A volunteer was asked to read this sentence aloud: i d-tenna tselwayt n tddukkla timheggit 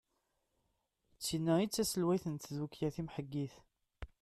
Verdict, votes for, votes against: rejected, 0, 2